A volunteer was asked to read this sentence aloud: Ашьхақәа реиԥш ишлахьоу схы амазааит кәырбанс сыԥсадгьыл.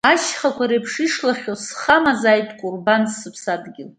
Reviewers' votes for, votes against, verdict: 2, 1, accepted